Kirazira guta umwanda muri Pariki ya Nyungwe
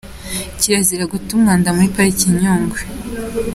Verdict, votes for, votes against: accepted, 2, 0